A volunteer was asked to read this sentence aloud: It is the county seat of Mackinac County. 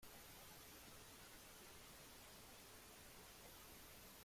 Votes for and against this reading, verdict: 0, 2, rejected